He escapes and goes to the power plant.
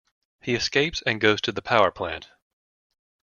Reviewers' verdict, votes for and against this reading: accepted, 2, 0